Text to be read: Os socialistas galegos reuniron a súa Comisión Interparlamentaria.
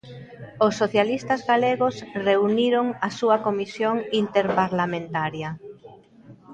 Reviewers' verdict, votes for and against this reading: accepted, 2, 0